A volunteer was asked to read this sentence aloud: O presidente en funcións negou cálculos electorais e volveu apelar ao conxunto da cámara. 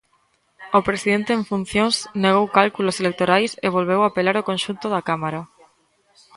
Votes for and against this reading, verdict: 1, 2, rejected